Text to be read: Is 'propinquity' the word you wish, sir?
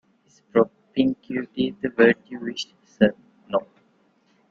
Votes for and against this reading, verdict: 0, 2, rejected